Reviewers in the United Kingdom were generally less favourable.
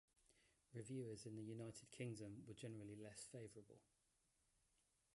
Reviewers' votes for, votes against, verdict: 0, 2, rejected